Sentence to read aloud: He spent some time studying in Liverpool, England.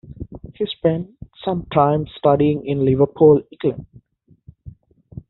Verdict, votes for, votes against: accepted, 2, 0